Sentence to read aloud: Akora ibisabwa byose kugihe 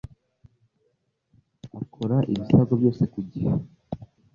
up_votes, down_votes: 2, 0